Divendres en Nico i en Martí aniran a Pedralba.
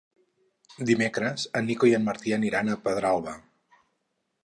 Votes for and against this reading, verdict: 0, 4, rejected